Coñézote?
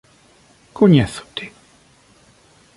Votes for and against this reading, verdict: 2, 0, accepted